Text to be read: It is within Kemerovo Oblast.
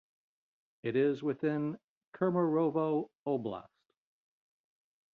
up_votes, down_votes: 2, 0